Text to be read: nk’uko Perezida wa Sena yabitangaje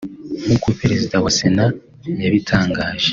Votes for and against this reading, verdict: 2, 0, accepted